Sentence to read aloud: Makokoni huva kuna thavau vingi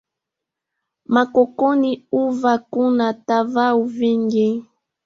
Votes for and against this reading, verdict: 1, 2, rejected